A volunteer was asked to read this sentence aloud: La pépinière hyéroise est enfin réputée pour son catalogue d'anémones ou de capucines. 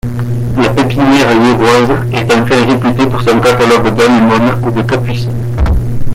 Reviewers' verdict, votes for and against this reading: rejected, 1, 2